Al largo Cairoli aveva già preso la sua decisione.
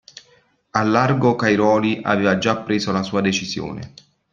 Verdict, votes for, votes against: accepted, 2, 0